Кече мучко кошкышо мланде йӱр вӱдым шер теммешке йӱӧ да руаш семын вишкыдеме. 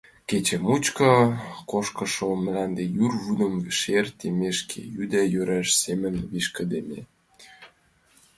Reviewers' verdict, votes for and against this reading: accepted, 2, 1